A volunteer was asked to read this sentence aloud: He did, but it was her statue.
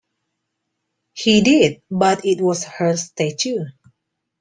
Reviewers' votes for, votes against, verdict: 2, 0, accepted